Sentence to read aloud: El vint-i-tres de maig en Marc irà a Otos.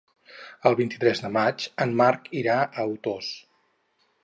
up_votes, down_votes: 2, 4